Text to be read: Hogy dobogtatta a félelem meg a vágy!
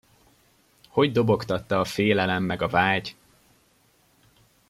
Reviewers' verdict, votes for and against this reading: accepted, 2, 0